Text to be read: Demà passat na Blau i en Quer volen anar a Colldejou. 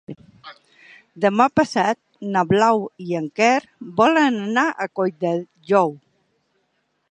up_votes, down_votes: 3, 0